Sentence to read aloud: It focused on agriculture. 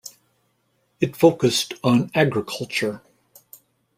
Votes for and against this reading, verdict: 2, 0, accepted